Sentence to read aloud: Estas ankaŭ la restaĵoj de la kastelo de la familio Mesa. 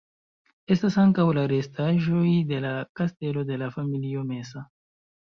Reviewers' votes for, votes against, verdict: 1, 2, rejected